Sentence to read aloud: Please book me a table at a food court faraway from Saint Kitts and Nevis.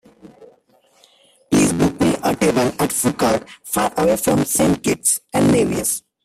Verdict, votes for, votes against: accepted, 2, 0